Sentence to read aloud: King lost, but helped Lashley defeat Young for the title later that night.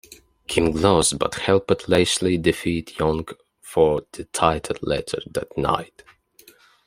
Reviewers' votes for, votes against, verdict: 2, 0, accepted